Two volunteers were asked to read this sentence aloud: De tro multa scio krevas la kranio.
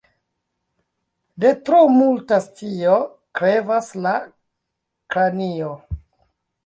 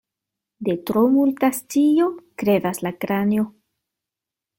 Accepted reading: second